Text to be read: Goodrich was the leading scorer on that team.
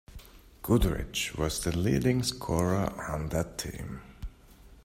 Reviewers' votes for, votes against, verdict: 2, 0, accepted